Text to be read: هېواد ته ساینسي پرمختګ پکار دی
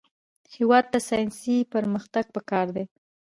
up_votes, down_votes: 0, 2